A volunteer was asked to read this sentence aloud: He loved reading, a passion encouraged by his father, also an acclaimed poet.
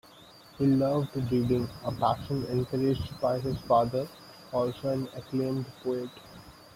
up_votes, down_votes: 0, 2